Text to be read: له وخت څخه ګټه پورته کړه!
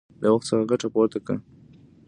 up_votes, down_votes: 2, 0